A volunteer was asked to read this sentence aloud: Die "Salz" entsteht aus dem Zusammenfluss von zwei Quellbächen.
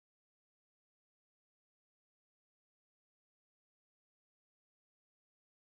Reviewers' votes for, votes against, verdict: 0, 2, rejected